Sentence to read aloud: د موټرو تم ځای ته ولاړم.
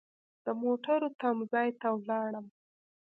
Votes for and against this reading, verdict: 2, 0, accepted